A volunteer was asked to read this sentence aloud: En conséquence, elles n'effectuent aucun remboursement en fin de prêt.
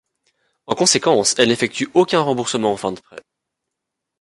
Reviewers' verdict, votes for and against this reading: rejected, 1, 2